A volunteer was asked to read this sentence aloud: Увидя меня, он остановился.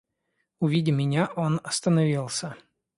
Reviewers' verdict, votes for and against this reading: accepted, 2, 0